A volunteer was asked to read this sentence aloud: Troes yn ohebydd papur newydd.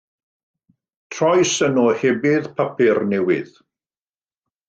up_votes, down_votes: 2, 0